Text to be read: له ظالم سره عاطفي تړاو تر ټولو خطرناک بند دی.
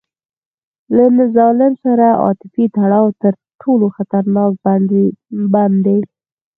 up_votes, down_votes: 4, 0